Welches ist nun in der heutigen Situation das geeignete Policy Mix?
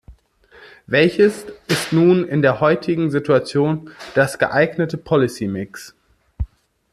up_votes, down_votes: 1, 2